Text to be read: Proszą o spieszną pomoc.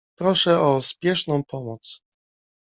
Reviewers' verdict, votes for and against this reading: accepted, 2, 1